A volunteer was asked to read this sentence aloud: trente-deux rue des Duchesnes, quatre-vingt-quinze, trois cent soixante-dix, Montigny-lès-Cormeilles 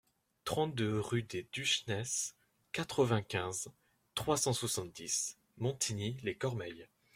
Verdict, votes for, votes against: rejected, 0, 2